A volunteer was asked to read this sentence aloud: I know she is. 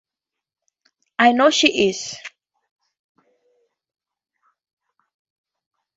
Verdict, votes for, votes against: accepted, 2, 0